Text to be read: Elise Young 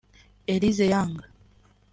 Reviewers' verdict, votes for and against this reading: rejected, 2, 3